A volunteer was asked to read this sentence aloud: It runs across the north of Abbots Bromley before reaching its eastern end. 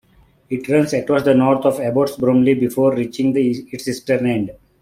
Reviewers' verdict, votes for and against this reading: rejected, 1, 2